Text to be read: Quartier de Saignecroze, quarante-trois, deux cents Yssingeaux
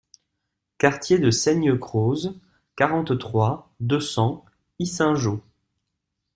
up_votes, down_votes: 2, 0